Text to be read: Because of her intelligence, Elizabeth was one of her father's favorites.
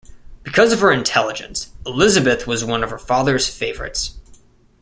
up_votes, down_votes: 2, 0